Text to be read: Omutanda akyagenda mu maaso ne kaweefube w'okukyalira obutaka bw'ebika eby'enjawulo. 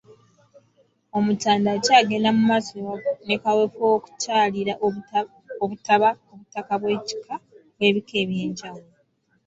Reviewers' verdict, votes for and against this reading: rejected, 1, 2